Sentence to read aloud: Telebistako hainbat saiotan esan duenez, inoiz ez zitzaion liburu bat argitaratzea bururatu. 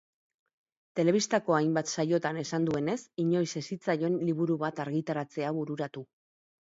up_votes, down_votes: 4, 0